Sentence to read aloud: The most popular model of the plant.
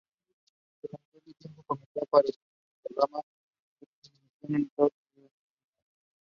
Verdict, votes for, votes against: rejected, 0, 2